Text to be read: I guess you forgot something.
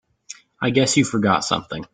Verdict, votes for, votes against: accepted, 2, 0